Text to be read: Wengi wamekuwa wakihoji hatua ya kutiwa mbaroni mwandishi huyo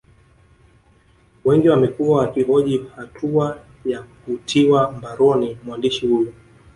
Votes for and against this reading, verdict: 0, 2, rejected